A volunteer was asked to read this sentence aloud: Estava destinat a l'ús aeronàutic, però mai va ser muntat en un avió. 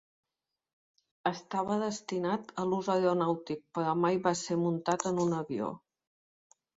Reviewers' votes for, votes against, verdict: 1, 2, rejected